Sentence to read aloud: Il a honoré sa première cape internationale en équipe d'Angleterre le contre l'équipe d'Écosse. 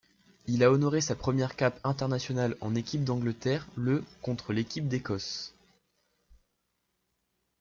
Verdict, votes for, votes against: accepted, 2, 0